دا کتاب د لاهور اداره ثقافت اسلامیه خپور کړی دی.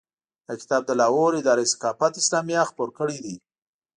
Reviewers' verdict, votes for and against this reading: accepted, 2, 0